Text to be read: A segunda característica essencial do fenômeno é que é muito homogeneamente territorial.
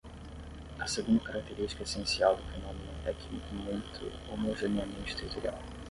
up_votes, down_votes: 5, 5